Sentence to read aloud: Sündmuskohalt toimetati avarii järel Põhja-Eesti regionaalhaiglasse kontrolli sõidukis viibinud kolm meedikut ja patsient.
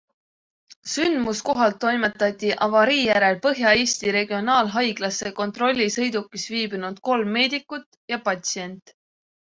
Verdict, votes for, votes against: accepted, 2, 0